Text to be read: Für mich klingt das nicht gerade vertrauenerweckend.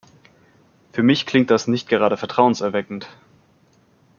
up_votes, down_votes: 1, 2